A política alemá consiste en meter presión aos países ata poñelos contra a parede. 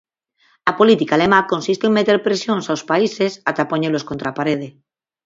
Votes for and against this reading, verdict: 2, 4, rejected